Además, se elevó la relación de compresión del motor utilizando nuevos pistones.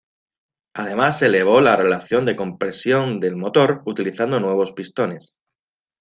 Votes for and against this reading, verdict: 2, 0, accepted